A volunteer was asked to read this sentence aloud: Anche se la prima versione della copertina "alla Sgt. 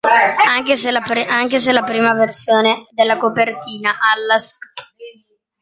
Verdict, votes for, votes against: rejected, 0, 2